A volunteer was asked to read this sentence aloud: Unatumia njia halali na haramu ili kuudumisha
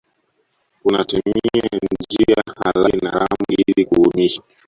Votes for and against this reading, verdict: 0, 2, rejected